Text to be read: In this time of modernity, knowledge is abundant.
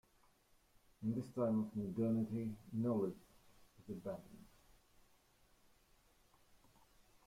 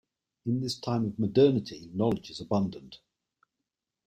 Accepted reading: second